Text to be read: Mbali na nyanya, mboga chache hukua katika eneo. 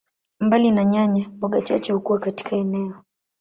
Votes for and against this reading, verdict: 5, 0, accepted